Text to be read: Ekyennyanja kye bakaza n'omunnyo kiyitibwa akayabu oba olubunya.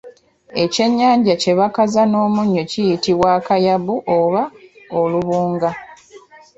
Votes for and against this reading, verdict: 0, 2, rejected